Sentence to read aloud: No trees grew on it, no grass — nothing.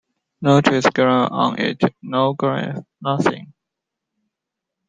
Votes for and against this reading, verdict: 2, 0, accepted